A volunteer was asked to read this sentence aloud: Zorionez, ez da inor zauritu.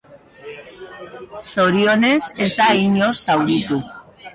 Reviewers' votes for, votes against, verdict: 2, 0, accepted